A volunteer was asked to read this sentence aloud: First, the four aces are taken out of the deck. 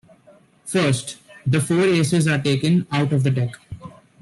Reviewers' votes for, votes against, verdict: 2, 0, accepted